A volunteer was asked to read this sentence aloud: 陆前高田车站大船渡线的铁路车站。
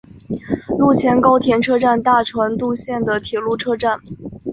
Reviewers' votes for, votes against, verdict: 0, 2, rejected